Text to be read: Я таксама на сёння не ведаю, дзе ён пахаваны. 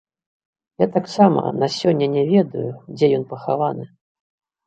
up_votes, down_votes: 3, 0